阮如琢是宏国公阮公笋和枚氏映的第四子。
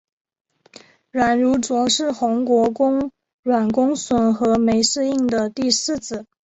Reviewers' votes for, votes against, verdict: 1, 2, rejected